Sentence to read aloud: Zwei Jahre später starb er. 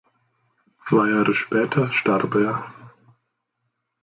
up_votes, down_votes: 1, 2